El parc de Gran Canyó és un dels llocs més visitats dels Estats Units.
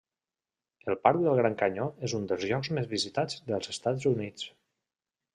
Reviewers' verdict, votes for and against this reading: rejected, 0, 2